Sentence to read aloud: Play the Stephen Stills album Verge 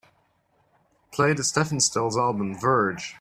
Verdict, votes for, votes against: accepted, 3, 0